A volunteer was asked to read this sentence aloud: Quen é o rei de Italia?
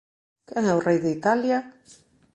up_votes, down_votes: 2, 0